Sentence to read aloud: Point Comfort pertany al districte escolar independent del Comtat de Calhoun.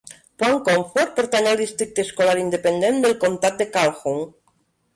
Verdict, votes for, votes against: rejected, 2, 3